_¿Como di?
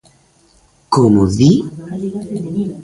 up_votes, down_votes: 1, 2